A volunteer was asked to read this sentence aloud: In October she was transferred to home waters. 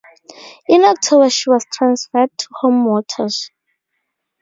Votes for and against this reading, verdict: 2, 2, rejected